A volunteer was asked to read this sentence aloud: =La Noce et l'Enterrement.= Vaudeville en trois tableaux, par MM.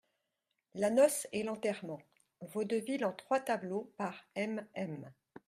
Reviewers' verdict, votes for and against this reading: accepted, 2, 0